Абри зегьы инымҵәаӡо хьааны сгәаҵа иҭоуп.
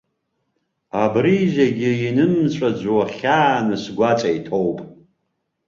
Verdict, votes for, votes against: accepted, 3, 0